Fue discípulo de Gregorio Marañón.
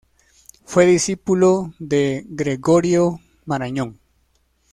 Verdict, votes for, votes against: accepted, 2, 0